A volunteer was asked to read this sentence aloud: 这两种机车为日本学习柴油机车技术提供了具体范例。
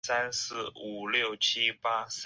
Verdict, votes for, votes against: rejected, 0, 4